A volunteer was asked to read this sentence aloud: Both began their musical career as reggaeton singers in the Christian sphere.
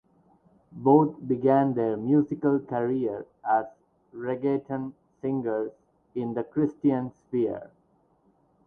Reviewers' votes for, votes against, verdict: 2, 2, rejected